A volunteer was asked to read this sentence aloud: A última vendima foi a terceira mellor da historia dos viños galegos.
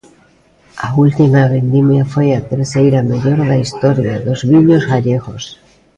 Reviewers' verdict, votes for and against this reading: rejected, 0, 2